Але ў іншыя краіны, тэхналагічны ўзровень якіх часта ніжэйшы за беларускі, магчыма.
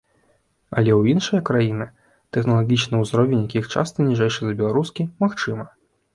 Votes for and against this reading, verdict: 2, 0, accepted